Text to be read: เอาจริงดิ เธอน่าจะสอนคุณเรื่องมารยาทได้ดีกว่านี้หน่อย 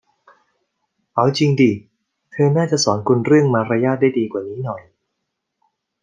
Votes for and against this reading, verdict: 2, 0, accepted